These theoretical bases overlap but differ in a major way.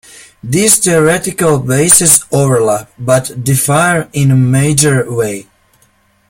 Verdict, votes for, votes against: rejected, 1, 2